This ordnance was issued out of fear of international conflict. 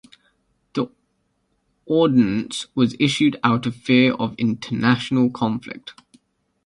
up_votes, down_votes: 1, 2